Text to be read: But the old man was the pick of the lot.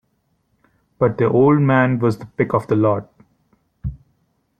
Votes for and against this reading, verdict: 2, 1, accepted